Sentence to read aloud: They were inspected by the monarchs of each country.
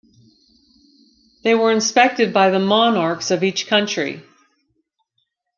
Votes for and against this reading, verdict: 2, 0, accepted